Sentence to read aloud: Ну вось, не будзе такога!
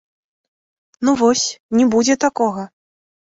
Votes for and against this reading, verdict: 2, 1, accepted